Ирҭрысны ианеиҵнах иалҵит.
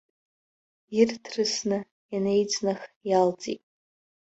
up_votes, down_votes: 1, 2